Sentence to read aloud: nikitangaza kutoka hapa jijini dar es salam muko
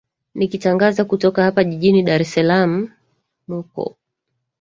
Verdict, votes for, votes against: rejected, 1, 2